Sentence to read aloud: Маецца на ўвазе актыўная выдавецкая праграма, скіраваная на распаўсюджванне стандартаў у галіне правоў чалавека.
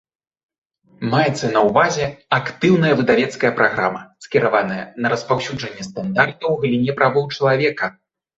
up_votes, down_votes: 1, 2